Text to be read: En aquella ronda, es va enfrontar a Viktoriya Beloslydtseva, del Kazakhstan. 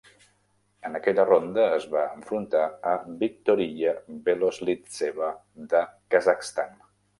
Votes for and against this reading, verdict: 0, 2, rejected